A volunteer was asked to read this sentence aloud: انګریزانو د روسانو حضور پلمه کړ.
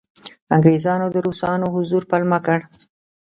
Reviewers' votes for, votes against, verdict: 2, 0, accepted